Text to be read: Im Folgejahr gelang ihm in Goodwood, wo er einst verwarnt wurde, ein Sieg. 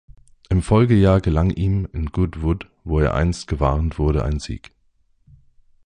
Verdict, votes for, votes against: rejected, 1, 2